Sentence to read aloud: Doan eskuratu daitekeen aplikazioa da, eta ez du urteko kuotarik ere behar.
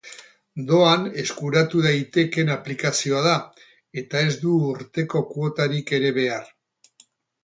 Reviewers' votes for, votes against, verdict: 4, 0, accepted